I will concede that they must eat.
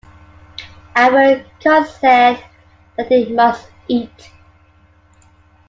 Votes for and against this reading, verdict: 1, 2, rejected